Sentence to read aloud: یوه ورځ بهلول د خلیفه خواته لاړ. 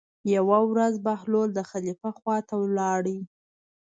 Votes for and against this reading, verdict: 1, 2, rejected